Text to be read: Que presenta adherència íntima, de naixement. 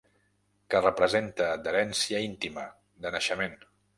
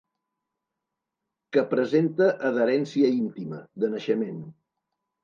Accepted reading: second